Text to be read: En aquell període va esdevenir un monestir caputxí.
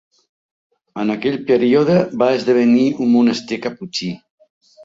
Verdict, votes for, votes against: accepted, 3, 0